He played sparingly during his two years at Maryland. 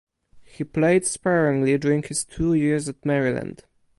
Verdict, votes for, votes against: rejected, 2, 2